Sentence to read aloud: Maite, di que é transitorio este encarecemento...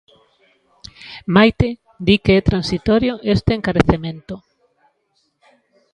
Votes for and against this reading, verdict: 2, 0, accepted